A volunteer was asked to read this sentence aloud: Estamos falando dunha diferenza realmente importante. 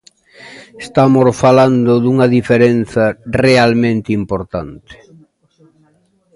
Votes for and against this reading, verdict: 2, 0, accepted